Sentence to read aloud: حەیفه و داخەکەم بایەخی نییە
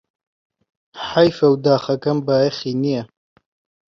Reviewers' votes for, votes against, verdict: 3, 0, accepted